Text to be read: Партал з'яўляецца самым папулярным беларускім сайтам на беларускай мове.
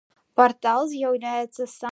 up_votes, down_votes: 0, 2